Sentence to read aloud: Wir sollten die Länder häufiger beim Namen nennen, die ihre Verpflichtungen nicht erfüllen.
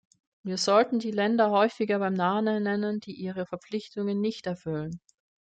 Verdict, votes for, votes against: rejected, 0, 2